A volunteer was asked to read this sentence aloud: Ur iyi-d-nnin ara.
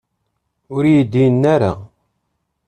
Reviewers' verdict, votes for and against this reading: rejected, 0, 3